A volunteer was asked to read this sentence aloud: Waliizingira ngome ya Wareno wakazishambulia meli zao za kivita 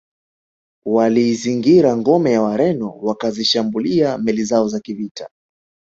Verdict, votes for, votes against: accepted, 2, 1